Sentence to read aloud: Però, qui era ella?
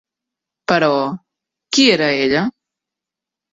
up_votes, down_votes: 3, 0